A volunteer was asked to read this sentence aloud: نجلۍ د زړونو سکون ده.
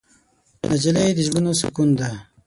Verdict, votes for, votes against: rejected, 3, 6